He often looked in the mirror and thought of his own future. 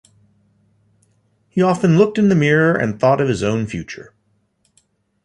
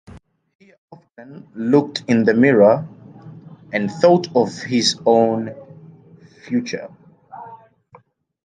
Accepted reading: first